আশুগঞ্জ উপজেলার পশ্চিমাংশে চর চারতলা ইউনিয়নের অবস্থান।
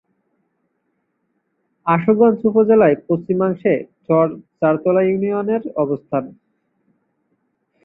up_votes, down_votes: 1, 2